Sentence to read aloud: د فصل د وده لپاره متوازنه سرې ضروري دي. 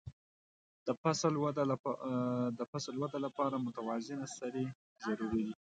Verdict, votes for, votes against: rejected, 1, 2